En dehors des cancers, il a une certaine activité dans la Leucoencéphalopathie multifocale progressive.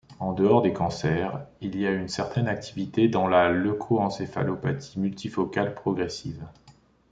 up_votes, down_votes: 2, 3